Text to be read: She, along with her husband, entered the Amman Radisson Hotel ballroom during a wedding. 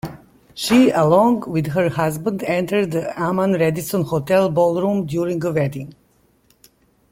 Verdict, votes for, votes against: accepted, 2, 1